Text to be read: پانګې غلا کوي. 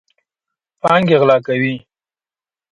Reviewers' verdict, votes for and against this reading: accepted, 2, 0